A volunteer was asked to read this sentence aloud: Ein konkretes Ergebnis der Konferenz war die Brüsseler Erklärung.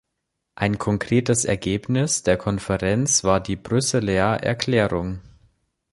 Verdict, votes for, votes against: accepted, 2, 0